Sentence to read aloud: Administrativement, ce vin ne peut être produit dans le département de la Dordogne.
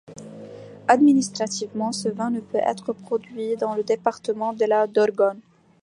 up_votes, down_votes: 0, 2